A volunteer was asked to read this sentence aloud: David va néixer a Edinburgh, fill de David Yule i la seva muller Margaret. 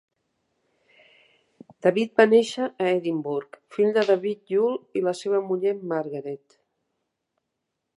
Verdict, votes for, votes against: accepted, 2, 0